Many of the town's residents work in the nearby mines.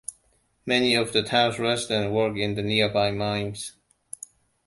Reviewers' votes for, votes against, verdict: 1, 2, rejected